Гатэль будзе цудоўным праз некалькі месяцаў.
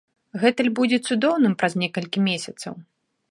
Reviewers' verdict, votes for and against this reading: rejected, 0, 2